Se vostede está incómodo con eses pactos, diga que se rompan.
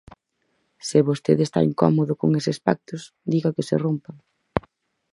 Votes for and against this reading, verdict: 4, 0, accepted